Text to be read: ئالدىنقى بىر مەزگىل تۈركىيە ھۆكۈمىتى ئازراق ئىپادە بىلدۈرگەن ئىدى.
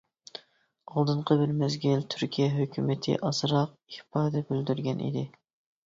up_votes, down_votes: 2, 0